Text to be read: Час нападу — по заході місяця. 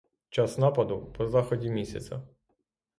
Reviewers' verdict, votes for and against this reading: accepted, 6, 0